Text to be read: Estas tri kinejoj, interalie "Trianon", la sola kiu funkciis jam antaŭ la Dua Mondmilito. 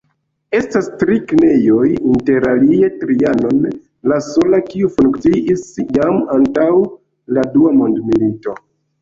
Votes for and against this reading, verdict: 2, 0, accepted